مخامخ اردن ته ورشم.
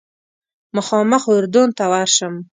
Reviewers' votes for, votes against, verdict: 2, 0, accepted